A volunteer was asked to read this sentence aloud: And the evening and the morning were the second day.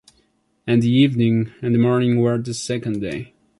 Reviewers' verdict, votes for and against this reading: accepted, 2, 1